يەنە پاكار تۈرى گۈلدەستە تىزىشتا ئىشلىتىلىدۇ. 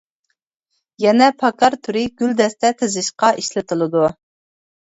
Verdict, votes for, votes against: accepted, 2, 0